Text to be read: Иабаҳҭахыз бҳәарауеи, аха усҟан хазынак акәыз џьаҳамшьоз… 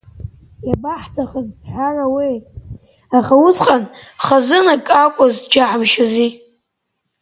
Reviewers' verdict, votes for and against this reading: rejected, 0, 2